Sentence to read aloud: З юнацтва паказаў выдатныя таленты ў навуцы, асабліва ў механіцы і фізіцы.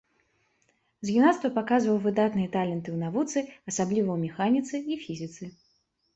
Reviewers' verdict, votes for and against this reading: rejected, 1, 2